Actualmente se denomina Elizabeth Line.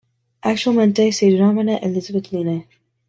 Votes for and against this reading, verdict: 2, 0, accepted